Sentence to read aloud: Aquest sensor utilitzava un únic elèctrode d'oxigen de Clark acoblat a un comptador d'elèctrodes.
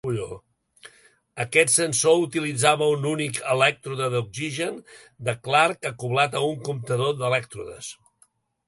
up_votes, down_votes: 1, 2